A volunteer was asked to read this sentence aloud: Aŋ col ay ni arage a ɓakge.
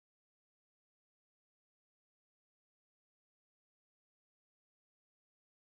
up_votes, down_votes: 0, 2